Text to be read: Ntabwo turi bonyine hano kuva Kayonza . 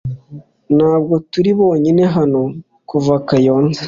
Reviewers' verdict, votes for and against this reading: accepted, 2, 0